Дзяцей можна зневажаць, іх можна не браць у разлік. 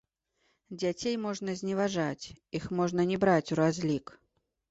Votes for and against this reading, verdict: 0, 2, rejected